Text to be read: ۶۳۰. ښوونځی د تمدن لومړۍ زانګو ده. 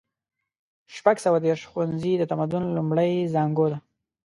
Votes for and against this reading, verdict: 0, 2, rejected